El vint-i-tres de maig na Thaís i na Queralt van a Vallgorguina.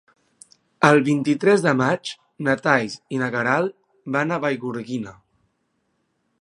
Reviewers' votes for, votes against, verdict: 1, 2, rejected